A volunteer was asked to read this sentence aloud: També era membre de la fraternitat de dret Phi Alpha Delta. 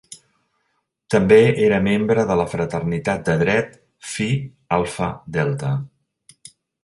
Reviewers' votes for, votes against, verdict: 3, 0, accepted